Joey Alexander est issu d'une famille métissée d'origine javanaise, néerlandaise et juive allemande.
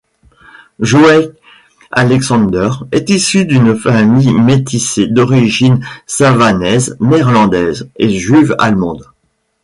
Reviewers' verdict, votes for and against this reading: rejected, 1, 2